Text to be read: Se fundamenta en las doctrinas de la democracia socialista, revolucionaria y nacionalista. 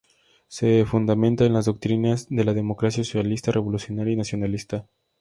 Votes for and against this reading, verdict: 2, 0, accepted